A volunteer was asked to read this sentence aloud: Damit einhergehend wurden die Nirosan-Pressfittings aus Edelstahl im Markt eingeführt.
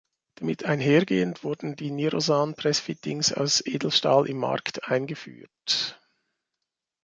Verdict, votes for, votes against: rejected, 0, 2